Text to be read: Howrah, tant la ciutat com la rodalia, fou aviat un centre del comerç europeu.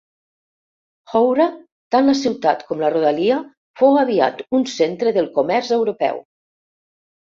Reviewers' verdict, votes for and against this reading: accepted, 3, 0